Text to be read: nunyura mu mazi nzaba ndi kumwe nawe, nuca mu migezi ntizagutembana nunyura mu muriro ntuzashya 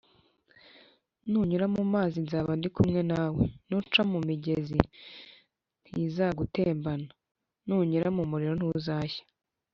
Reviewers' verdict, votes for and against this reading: accepted, 2, 0